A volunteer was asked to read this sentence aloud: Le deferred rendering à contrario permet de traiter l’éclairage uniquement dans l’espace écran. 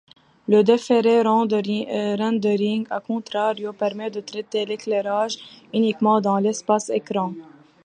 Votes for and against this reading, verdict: 0, 2, rejected